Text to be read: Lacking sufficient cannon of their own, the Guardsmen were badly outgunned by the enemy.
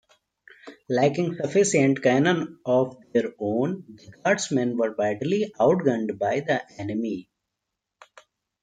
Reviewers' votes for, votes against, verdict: 1, 2, rejected